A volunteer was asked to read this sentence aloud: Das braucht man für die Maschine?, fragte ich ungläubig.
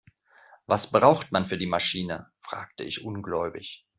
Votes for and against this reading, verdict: 2, 1, accepted